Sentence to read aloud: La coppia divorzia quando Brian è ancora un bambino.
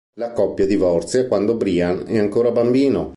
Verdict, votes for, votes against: rejected, 0, 2